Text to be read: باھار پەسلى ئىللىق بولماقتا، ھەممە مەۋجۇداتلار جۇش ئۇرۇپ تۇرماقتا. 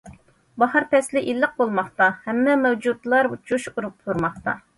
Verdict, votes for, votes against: rejected, 0, 2